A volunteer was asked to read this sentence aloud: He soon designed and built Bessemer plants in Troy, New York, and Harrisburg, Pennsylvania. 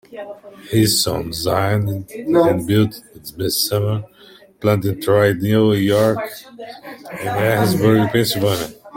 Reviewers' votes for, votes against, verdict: 2, 1, accepted